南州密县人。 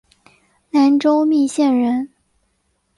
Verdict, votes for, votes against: accepted, 5, 0